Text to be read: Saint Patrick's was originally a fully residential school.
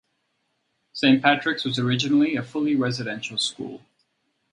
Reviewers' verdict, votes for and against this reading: rejected, 2, 2